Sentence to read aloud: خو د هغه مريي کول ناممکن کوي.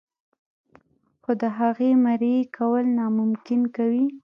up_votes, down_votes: 2, 0